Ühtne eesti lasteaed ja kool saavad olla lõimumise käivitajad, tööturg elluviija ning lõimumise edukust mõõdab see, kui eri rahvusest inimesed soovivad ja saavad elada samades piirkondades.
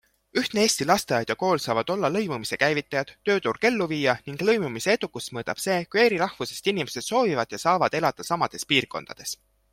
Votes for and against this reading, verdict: 2, 0, accepted